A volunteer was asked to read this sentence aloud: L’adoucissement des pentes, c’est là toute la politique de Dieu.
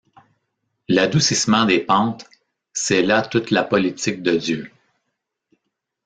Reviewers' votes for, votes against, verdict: 2, 0, accepted